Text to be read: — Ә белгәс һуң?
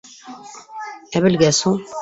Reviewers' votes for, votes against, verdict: 0, 2, rejected